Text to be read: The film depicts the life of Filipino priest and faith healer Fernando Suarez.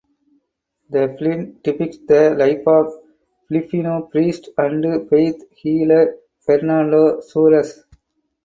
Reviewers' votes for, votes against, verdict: 2, 2, rejected